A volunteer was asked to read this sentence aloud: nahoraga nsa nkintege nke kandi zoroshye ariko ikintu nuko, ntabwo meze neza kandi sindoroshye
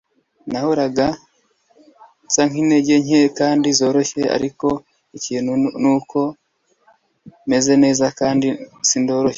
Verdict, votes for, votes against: rejected, 1, 2